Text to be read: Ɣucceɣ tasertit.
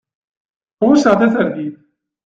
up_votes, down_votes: 2, 0